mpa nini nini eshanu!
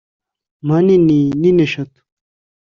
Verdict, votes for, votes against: accepted, 3, 0